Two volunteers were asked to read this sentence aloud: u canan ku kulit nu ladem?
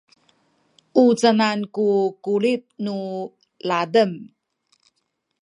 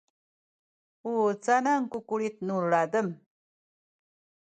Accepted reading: first